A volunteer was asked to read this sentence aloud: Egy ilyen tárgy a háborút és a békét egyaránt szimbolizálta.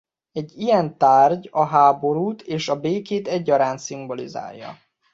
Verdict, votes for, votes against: rejected, 0, 2